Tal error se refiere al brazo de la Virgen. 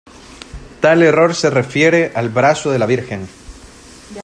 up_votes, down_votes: 2, 0